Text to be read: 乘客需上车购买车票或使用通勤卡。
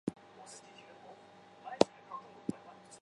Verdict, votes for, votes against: rejected, 0, 2